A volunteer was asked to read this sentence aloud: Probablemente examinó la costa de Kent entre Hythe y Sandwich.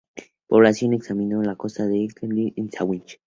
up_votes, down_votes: 0, 2